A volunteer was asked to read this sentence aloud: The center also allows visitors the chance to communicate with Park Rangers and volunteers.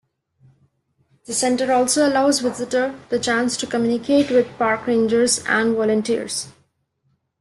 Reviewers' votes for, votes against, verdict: 0, 2, rejected